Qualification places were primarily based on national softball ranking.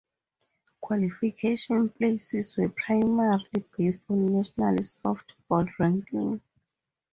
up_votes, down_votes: 4, 0